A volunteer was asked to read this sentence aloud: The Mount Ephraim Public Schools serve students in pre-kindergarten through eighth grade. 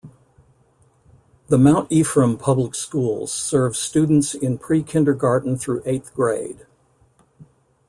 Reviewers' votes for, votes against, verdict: 2, 0, accepted